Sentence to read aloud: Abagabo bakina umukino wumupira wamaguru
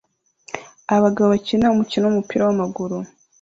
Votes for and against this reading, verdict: 2, 0, accepted